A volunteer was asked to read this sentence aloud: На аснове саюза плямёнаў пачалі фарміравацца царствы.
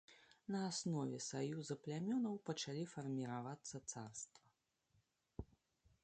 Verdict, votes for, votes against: rejected, 0, 2